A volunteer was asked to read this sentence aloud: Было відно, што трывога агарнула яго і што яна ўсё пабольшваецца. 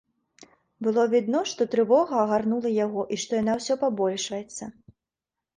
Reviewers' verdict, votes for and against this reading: accepted, 2, 0